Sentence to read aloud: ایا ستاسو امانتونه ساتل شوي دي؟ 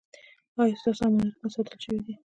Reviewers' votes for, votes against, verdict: 2, 0, accepted